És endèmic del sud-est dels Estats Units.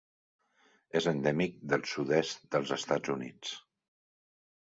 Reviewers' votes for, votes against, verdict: 3, 0, accepted